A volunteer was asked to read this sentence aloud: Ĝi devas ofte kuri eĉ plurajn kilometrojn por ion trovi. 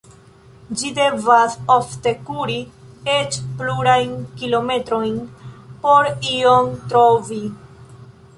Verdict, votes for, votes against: accepted, 2, 0